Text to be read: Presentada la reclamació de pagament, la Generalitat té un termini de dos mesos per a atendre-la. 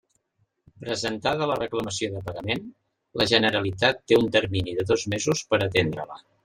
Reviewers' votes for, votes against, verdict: 2, 0, accepted